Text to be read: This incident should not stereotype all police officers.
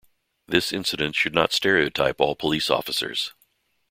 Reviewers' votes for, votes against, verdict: 2, 0, accepted